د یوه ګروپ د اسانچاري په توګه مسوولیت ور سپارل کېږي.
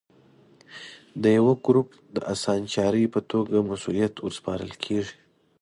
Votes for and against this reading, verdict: 2, 1, accepted